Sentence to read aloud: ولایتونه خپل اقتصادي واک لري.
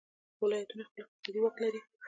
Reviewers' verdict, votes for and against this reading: rejected, 1, 2